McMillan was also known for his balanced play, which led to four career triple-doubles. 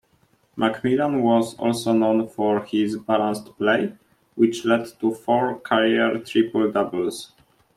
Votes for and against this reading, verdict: 2, 0, accepted